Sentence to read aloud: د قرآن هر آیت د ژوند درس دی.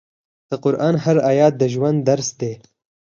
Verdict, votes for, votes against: accepted, 4, 0